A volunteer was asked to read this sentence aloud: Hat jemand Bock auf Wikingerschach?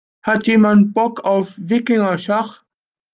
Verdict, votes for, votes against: accepted, 2, 0